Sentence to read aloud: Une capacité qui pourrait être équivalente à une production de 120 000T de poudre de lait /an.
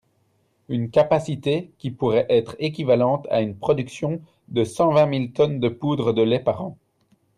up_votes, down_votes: 0, 2